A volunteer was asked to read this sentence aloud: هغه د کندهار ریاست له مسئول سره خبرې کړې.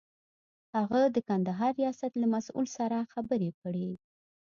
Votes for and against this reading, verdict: 2, 0, accepted